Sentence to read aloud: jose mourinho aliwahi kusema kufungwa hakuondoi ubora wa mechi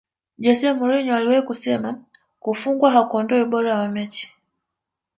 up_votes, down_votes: 5, 0